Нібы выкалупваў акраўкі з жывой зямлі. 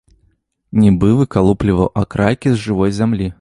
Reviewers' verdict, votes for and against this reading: rejected, 1, 2